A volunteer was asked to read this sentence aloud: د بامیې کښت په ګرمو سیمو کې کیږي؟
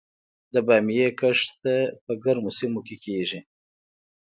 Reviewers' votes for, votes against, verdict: 1, 2, rejected